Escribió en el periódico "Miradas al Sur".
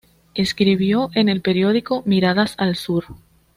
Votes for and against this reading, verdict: 0, 2, rejected